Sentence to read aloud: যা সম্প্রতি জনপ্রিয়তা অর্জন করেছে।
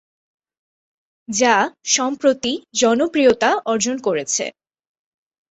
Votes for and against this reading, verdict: 2, 1, accepted